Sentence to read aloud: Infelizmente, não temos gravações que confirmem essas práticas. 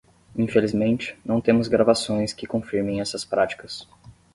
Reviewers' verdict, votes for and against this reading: accepted, 10, 0